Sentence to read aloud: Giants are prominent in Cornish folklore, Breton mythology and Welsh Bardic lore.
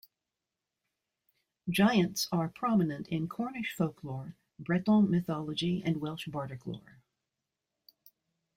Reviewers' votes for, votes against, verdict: 2, 0, accepted